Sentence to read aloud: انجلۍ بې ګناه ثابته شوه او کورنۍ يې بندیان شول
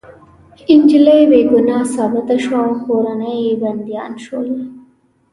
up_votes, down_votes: 1, 2